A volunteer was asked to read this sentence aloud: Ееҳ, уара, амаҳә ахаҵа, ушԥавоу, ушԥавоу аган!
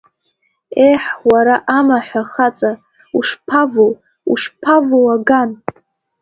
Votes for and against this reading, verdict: 2, 0, accepted